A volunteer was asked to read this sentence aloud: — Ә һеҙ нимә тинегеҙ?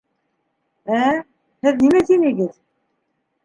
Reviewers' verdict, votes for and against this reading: rejected, 1, 2